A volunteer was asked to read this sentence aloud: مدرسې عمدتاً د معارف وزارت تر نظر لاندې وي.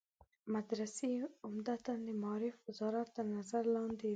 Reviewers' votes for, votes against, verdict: 1, 2, rejected